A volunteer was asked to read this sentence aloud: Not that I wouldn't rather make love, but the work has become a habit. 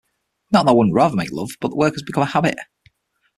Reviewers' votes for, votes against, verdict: 3, 6, rejected